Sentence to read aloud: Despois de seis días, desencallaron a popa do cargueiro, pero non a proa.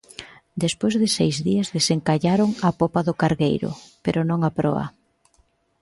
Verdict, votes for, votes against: accepted, 2, 0